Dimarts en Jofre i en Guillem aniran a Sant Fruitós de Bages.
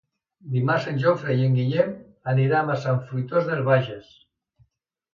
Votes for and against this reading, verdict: 1, 2, rejected